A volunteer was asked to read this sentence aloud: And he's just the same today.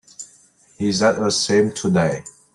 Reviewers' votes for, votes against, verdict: 1, 2, rejected